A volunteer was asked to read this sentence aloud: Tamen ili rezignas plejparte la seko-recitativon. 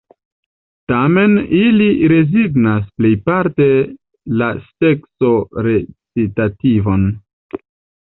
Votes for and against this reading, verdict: 1, 2, rejected